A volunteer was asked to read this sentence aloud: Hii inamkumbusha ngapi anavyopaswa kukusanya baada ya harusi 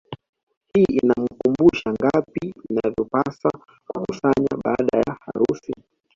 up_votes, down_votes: 2, 1